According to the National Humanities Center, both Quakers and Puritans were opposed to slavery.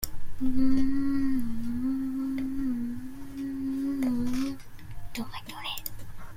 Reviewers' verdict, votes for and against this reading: rejected, 0, 2